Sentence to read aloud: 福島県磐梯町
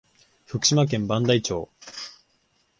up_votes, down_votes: 0, 2